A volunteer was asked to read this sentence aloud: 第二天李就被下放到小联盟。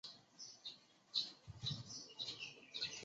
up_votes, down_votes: 0, 2